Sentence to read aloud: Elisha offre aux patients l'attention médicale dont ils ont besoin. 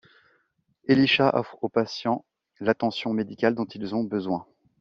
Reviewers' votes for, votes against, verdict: 2, 0, accepted